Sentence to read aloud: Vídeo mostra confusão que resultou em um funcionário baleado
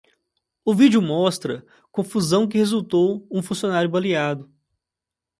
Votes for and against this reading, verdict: 0, 2, rejected